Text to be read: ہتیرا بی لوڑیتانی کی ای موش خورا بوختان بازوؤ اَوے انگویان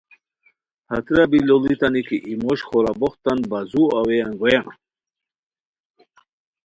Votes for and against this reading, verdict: 2, 0, accepted